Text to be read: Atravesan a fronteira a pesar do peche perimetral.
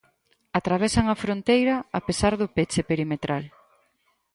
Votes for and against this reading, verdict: 4, 0, accepted